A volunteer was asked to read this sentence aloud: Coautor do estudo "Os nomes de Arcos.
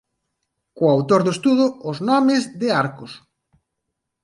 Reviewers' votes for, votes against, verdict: 0, 2, rejected